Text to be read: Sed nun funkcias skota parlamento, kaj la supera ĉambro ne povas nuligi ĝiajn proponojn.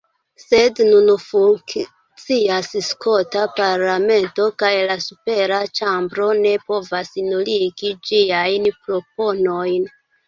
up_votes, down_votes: 0, 2